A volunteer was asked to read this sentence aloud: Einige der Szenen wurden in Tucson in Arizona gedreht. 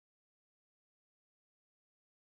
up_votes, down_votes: 0, 2